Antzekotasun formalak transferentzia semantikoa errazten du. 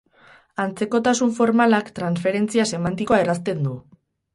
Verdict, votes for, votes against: rejected, 2, 2